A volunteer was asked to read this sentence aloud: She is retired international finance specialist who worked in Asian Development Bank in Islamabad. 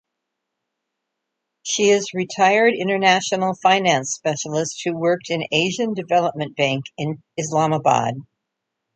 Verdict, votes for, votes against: accepted, 2, 0